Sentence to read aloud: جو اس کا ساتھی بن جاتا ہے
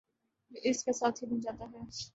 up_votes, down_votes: 3, 2